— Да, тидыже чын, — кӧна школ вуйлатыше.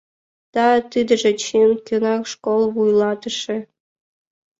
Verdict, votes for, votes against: accepted, 2, 0